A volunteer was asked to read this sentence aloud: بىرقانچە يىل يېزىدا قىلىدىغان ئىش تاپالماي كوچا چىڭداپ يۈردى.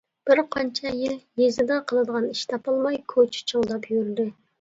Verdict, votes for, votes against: rejected, 0, 2